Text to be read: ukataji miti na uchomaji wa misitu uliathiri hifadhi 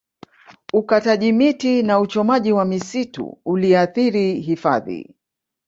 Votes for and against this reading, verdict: 1, 2, rejected